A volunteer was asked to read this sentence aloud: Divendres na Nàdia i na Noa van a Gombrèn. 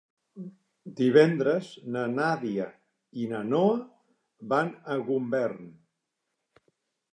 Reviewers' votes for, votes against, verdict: 0, 2, rejected